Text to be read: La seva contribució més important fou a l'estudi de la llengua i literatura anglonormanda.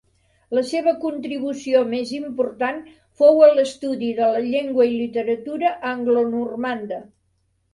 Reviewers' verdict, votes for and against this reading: accepted, 2, 0